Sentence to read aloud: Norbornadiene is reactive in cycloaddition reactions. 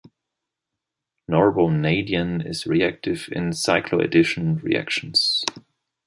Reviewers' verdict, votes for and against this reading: accepted, 2, 0